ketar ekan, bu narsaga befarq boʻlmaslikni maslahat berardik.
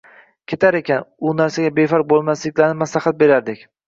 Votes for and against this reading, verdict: 2, 3, rejected